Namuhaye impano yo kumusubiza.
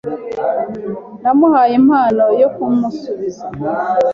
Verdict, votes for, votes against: accepted, 2, 0